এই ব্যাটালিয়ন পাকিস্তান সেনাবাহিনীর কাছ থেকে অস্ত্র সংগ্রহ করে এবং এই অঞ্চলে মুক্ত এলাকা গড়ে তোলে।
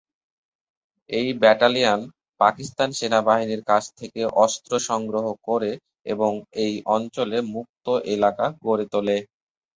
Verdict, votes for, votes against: rejected, 1, 2